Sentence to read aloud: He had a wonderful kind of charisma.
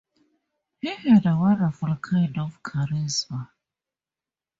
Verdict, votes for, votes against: accepted, 2, 0